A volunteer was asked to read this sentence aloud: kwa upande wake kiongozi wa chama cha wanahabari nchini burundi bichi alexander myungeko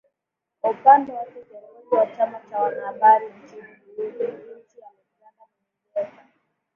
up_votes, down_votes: 4, 8